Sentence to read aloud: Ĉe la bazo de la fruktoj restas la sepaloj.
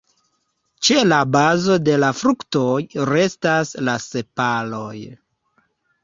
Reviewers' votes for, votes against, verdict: 2, 1, accepted